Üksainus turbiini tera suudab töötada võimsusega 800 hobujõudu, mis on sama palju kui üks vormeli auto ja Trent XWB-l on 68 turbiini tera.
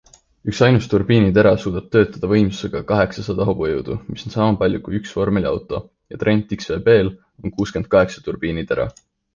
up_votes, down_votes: 0, 2